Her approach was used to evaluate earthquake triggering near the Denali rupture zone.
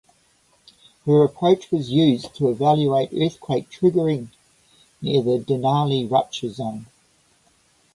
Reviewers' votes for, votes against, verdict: 2, 0, accepted